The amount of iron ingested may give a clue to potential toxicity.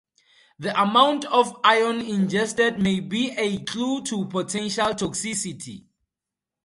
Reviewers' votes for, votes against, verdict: 0, 2, rejected